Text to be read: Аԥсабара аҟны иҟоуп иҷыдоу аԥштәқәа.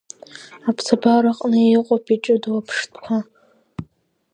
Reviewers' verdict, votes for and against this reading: accepted, 2, 0